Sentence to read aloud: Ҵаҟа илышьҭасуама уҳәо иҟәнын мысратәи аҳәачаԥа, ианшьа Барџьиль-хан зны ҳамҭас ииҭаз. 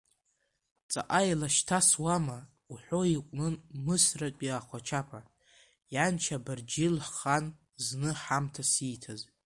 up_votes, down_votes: 0, 2